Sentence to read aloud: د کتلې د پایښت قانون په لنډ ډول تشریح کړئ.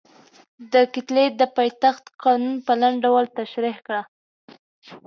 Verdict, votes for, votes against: rejected, 0, 2